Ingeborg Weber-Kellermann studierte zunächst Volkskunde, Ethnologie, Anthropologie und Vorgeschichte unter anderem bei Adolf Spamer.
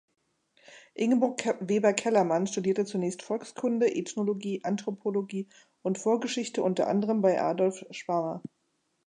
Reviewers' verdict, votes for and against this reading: rejected, 0, 2